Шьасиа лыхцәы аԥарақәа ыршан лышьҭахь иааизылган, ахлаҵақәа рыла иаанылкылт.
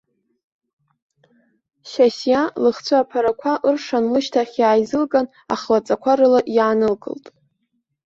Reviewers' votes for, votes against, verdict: 2, 0, accepted